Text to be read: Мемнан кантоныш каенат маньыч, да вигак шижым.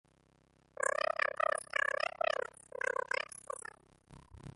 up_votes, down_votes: 0, 2